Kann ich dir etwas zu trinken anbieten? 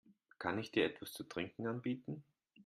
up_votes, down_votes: 2, 0